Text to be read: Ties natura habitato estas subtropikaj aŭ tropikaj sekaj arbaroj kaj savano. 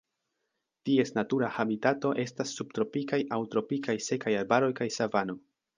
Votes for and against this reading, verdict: 2, 0, accepted